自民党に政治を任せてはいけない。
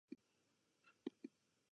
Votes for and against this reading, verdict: 1, 2, rejected